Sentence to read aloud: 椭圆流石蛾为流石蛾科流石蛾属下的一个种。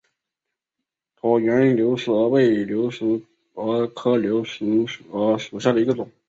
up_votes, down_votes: 0, 3